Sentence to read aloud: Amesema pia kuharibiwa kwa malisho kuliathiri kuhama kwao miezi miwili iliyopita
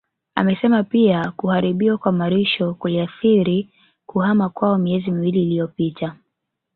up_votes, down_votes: 2, 0